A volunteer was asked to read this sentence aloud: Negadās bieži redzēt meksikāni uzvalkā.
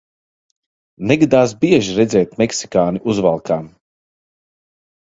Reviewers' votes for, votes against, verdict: 2, 0, accepted